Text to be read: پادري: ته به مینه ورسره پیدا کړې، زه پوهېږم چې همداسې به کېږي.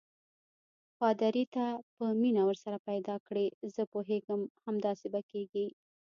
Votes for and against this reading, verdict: 2, 0, accepted